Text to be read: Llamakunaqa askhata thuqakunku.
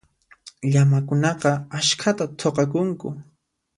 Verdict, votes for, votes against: accepted, 2, 0